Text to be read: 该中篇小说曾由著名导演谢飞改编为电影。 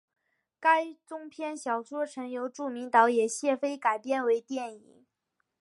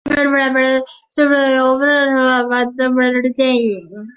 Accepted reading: first